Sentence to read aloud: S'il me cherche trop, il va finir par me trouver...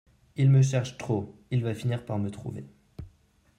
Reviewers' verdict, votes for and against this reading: rejected, 0, 2